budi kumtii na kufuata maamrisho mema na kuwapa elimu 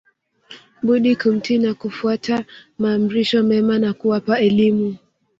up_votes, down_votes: 1, 2